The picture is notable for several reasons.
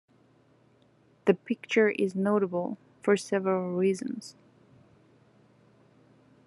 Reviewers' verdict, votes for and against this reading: accepted, 2, 0